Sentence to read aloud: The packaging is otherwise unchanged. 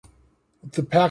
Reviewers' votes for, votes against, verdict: 1, 2, rejected